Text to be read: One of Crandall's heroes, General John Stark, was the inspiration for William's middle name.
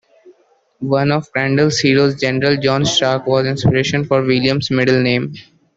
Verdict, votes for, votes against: accepted, 2, 1